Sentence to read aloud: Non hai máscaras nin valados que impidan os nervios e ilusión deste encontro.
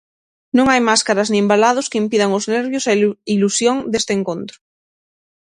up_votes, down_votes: 3, 6